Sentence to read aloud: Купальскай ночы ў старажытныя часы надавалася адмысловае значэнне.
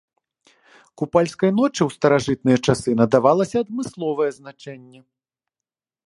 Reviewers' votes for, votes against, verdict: 2, 0, accepted